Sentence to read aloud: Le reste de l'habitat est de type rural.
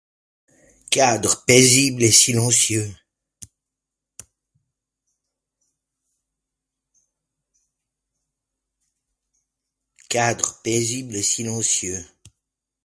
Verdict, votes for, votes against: rejected, 0, 2